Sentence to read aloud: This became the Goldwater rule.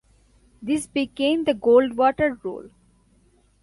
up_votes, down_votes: 2, 0